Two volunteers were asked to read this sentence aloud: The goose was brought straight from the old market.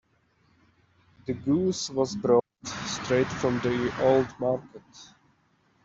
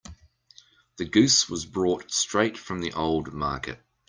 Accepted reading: second